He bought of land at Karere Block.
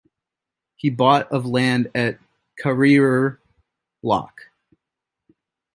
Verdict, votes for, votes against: rejected, 1, 2